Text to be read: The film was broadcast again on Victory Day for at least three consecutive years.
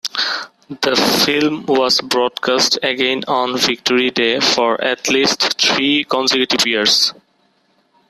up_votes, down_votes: 1, 2